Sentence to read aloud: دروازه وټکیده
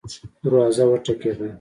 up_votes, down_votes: 1, 2